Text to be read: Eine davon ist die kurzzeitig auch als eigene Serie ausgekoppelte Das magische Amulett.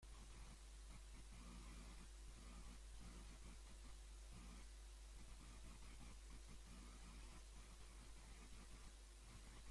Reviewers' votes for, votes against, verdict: 0, 2, rejected